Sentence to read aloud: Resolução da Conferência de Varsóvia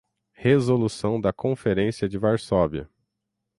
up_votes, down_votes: 6, 0